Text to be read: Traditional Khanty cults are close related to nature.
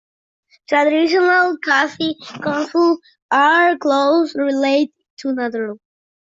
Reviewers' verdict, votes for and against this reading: rejected, 0, 2